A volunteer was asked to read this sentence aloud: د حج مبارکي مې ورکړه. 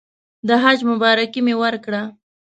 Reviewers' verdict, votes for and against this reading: accepted, 2, 0